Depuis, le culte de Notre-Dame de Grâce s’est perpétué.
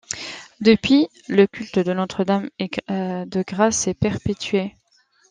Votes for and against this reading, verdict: 0, 2, rejected